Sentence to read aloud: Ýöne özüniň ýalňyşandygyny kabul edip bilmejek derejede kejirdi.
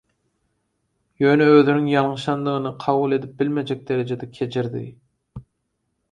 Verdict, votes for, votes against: accepted, 4, 0